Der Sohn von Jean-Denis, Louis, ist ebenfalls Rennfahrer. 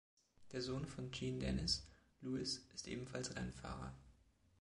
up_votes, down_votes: 2, 0